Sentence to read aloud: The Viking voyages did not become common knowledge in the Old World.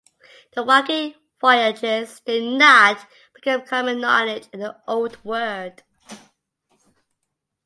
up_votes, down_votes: 2, 1